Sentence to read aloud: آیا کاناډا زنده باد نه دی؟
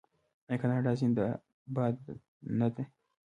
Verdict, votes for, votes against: rejected, 0, 2